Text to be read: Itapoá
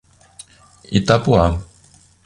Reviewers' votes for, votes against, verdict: 2, 0, accepted